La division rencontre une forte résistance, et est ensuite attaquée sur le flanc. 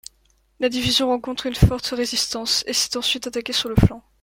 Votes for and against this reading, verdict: 2, 0, accepted